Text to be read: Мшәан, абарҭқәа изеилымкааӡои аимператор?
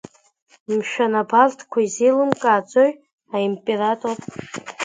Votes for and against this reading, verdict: 1, 2, rejected